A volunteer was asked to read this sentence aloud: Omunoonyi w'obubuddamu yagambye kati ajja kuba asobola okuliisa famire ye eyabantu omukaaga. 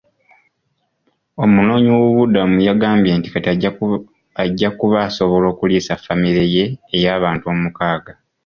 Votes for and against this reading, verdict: 2, 1, accepted